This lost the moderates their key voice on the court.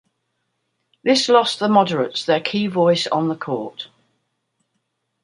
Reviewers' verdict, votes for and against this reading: accepted, 2, 0